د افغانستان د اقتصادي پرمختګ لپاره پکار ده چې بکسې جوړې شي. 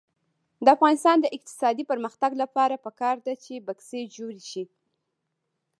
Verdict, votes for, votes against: rejected, 1, 2